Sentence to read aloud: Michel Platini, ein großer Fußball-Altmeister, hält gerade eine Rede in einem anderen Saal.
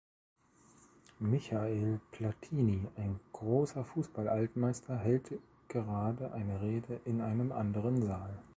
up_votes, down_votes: 0, 2